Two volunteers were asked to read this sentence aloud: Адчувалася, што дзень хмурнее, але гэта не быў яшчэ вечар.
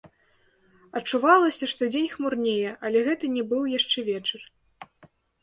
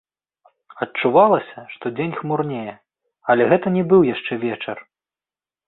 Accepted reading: second